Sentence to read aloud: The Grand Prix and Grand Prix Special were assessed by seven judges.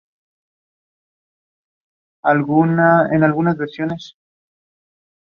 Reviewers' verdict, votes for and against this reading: rejected, 0, 2